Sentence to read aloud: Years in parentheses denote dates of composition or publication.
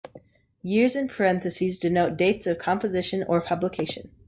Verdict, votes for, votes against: accepted, 3, 0